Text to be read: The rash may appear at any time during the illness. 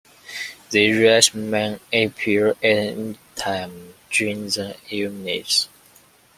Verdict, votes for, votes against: rejected, 0, 2